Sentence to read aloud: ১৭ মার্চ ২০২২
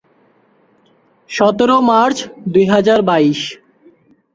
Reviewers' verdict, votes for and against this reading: rejected, 0, 2